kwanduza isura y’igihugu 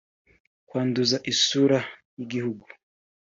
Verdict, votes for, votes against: accepted, 3, 0